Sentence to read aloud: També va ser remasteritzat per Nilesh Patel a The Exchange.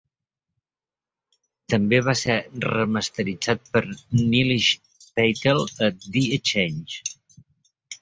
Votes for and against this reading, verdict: 2, 0, accepted